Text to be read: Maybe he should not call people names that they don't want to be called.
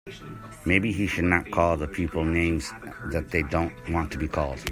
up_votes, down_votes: 1, 2